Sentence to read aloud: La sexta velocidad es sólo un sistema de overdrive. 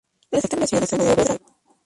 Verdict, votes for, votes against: rejected, 0, 2